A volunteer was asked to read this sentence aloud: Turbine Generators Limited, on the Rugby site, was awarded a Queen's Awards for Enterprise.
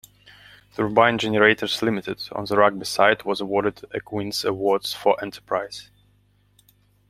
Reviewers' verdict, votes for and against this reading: accepted, 2, 0